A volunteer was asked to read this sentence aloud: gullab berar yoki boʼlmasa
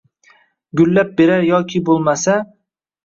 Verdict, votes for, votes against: accepted, 2, 1